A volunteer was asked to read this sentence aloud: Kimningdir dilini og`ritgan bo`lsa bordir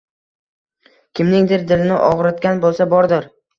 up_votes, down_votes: 2, 0